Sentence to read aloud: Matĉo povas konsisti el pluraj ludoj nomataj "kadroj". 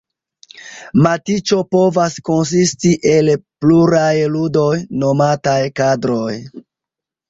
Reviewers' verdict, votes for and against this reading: rejected, 0, 2